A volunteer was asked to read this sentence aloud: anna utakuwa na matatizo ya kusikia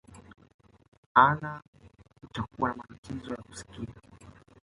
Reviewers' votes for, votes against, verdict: 2, 0, accepted